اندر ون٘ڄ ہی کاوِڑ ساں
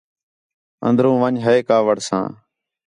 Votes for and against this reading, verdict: 4, 0, accepted